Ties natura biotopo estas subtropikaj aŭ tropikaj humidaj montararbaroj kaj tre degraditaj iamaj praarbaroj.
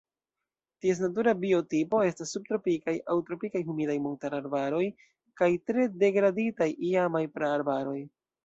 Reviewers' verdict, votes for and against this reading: rejected, 0, 2